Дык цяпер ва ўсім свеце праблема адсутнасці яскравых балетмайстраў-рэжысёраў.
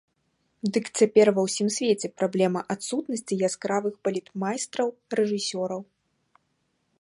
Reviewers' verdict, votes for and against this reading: accepted, 2, 0